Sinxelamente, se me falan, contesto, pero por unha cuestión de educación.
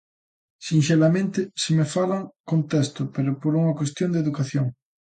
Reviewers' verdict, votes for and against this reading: accepted, 2, 0